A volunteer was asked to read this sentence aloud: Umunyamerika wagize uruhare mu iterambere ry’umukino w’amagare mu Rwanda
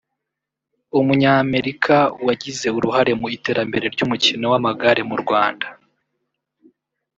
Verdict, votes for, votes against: rejected, 0, 2